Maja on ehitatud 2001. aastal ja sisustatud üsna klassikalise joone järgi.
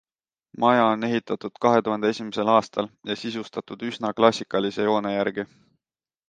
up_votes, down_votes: 0, 2